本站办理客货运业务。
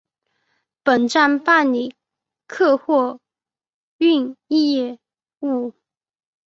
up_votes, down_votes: 3, 0